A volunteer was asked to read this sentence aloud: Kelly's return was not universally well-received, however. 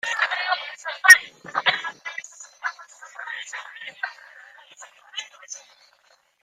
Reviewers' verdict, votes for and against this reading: rejected, 0, 3